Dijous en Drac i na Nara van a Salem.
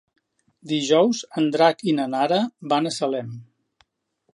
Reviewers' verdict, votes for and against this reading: accepted, 3, 0